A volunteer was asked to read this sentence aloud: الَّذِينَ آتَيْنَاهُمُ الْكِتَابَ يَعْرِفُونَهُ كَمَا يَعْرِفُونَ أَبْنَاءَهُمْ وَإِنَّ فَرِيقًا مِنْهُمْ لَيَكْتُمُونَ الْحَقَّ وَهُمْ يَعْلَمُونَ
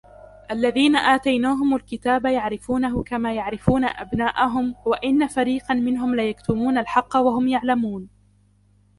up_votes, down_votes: 2, 0